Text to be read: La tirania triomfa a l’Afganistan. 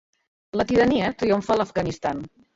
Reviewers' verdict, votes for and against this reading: rejected, 1, 2